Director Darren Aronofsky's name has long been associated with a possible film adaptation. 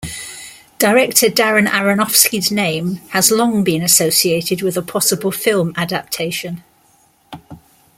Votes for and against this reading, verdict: 2, 0, accepted